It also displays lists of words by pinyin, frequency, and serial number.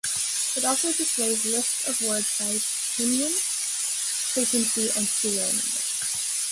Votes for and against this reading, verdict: 2, 1, accepted